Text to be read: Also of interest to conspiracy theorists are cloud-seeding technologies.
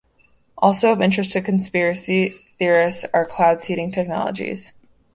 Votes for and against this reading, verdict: 2, 1, accepted